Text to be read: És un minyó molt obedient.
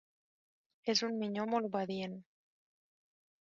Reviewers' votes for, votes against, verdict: 3, 0, accepted